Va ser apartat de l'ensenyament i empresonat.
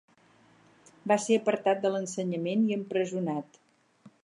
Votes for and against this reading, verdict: 6, 0, accepted